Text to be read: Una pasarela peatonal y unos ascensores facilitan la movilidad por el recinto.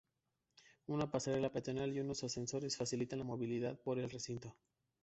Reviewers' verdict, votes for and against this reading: accepted, 2, 0